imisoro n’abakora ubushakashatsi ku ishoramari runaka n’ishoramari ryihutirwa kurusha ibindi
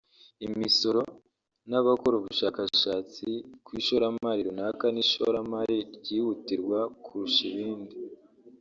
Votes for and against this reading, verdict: 1, 2, rejected